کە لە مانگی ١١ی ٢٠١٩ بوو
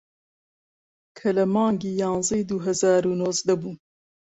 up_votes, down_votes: 0, 2